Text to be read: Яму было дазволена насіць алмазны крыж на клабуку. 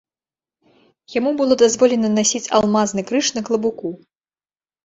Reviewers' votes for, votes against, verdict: 2, 0, accepted